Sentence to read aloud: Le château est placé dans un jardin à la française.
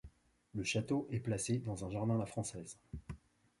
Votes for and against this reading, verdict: 0, 2, rejected